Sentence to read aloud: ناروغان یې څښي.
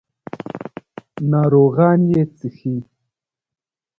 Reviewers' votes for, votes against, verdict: 0, 2, rejected